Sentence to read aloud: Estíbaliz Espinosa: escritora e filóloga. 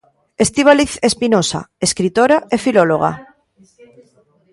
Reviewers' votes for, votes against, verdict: 2, 0, accepted